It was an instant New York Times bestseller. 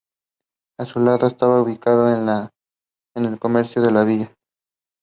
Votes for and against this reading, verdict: 0, 2, rejected